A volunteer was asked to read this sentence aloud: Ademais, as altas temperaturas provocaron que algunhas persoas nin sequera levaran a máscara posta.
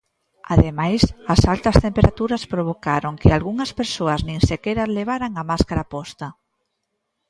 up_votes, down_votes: 2, 0